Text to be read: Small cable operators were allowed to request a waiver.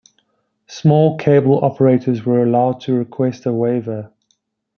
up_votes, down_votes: 2, 0